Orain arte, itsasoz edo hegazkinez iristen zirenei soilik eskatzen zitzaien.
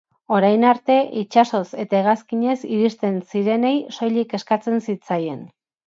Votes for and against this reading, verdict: 0, 2, rejected